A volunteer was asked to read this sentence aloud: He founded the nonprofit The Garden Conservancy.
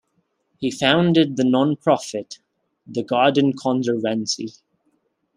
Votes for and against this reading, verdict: 1, 2, rejected